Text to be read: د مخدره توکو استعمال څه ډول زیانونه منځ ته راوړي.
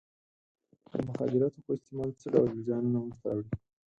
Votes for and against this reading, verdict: 2, 4, rejected